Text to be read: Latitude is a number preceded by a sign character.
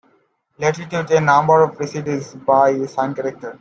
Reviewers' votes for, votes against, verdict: 0, 2, rejected